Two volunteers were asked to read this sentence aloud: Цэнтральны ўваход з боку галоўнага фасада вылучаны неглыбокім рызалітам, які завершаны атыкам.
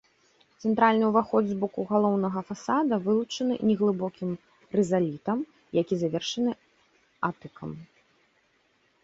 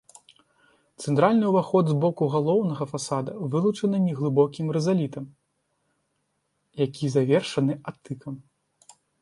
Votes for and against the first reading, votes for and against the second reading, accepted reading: 2, 0, 1, 2, first